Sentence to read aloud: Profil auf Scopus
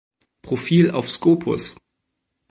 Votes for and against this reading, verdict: 2, 0, accepted